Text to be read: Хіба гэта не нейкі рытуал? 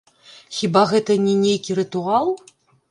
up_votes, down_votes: 1, 3